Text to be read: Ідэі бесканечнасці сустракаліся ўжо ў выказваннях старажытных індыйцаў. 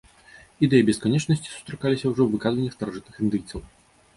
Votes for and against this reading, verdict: 2, 0, accepted